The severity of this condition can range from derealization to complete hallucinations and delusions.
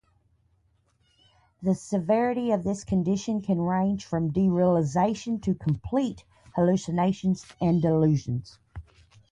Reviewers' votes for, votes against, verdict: 2, 0, accepted